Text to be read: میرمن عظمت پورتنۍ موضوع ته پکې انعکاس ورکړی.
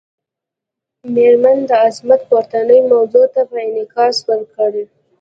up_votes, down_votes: 2, 0